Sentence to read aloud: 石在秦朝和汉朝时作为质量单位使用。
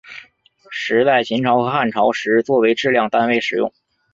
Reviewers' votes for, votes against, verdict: 4, 0, accepted